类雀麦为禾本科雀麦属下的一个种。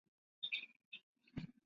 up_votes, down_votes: 0, 2